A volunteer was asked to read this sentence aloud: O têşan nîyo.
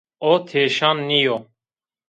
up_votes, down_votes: 2, 0